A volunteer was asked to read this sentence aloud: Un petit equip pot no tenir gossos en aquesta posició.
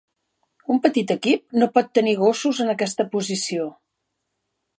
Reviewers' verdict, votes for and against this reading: rejected, 0, 2